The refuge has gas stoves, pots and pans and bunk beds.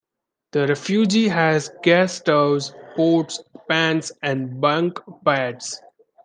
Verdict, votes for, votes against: rejected, 1, 2